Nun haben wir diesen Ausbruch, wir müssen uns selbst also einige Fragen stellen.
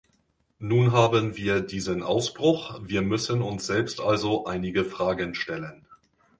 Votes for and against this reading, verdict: 2, 1, accepted